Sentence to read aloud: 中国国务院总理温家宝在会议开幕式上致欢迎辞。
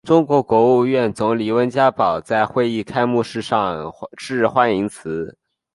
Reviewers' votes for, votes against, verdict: 3, 1, accepted